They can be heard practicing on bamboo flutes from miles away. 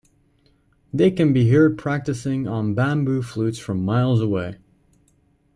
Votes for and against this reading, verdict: 2, 0, accepted